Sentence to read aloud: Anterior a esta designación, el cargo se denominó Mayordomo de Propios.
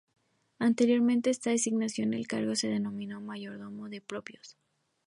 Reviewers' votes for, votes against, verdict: 0, 2, rejected